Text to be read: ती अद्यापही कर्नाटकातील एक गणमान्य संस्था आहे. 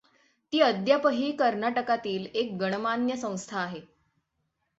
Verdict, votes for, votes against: accepted, 6, 0